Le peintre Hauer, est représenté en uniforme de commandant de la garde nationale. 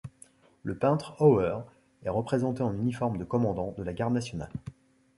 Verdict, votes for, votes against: accepted, 2, 0